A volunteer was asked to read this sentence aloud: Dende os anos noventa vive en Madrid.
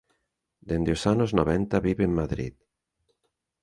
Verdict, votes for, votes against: accepted, 2, 0